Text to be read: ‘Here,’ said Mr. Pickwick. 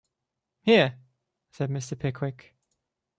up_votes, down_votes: 2, 0